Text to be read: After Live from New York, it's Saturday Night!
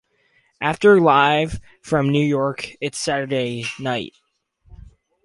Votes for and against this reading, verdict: 2, 2, rejected